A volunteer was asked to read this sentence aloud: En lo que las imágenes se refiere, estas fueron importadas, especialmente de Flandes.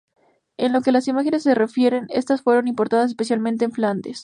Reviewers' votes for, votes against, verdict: 4, 0, accepted